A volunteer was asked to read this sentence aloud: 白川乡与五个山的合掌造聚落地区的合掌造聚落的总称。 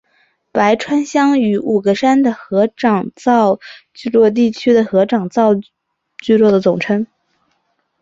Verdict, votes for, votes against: accepted, 2, 1